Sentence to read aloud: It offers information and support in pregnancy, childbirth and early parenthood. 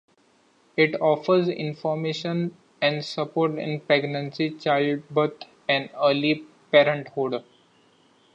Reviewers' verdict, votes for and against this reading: accepted, 2, 0